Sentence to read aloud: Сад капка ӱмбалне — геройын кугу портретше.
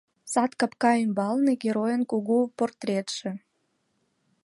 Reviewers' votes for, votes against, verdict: 4, 0, accepted